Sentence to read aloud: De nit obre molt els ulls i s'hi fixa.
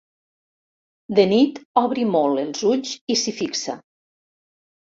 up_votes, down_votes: 0, 2